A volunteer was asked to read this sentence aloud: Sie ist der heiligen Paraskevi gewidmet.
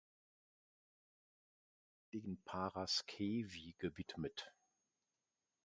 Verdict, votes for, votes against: rejected, 0, 2